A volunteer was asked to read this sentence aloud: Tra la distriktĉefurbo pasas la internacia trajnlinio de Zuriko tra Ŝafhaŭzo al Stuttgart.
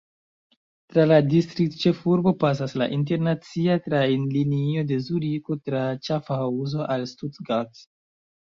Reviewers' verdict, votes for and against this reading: rejected, 1, 2